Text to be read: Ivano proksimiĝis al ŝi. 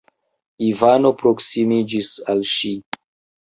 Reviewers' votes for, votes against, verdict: 2, 0, accepted